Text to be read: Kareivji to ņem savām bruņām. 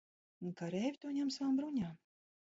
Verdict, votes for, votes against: rejected, 1, 2